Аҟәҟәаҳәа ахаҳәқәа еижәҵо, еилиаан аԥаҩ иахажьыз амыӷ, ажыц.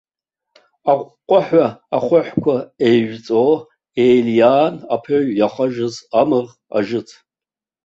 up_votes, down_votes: 1, 2